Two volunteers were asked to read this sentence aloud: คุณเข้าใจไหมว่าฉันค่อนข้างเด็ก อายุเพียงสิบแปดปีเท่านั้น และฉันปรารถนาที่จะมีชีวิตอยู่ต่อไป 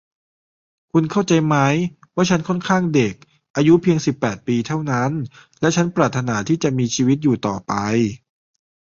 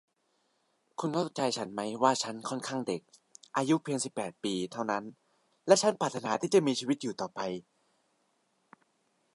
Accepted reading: first